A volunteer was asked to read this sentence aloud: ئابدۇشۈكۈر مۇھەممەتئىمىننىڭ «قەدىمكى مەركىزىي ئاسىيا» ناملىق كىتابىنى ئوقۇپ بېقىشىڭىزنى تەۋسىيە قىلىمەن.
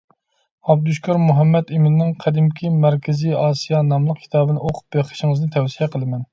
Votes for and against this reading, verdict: 2, 0, accepted